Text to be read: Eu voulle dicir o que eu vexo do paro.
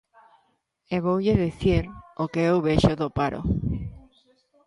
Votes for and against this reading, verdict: 0, 2, rejected